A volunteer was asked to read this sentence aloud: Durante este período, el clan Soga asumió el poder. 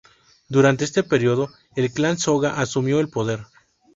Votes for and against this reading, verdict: 0, 2, rejected